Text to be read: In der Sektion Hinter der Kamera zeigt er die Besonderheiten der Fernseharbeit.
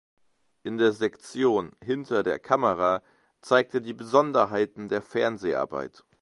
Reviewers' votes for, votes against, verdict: 1, 2, rejected